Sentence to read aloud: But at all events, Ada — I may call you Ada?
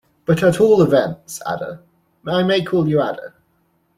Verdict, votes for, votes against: rejected, 0, 2